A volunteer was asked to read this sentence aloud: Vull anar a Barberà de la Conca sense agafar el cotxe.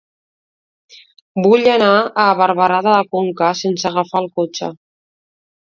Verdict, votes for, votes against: accepted, 2, 0